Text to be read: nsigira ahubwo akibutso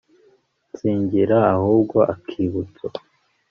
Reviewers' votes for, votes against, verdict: 1, 2, rejected